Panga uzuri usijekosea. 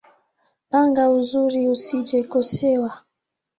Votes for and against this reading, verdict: 2, 1, accepted